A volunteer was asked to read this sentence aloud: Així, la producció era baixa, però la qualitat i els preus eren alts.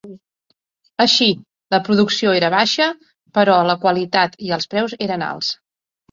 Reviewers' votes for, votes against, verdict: 3, 0, accepted